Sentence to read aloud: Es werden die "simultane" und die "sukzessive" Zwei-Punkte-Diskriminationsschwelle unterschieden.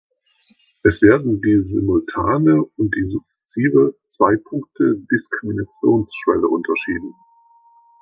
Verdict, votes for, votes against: accepted, 2, 0